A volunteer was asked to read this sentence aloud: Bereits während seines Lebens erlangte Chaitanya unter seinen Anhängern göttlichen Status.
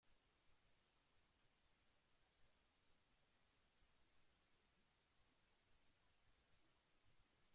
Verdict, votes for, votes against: rejected, 0, 2